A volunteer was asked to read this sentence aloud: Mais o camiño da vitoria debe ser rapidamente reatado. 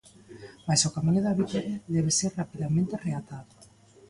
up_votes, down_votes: 2, 0